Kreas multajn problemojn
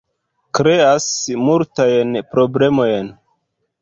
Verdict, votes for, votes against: rejected, 0, 2